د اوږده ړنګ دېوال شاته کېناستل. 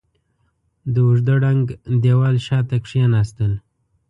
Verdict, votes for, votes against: accepted, 3, 0